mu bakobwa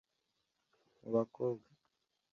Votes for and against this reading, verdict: 2, 0, accepted